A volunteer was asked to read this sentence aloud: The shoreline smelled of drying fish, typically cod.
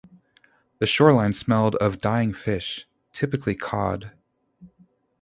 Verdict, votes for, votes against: rejected, 0, 2